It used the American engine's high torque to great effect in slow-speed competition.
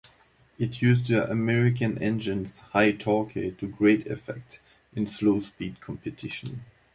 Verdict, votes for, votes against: rejected, 1, 2